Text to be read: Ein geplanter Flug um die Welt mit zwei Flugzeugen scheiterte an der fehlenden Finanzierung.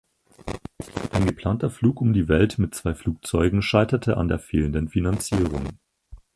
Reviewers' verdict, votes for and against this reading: accepted, 4, 2